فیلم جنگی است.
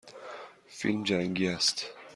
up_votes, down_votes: 2, 0